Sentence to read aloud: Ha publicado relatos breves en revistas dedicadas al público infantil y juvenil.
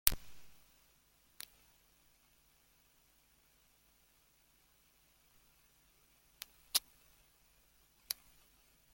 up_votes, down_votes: 0, 2